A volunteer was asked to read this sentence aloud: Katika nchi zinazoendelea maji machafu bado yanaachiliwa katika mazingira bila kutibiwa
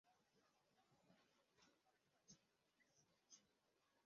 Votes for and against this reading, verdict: 0, 2, rejected